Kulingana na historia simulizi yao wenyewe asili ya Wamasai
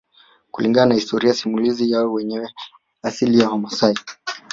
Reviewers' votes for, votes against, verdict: 0, 2, rejected